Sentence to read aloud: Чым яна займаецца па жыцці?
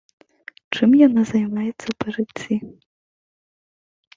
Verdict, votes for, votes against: accepted, 2, 0